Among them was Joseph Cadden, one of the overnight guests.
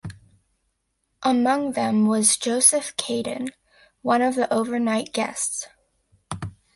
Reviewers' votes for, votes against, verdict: 1, 3, rejected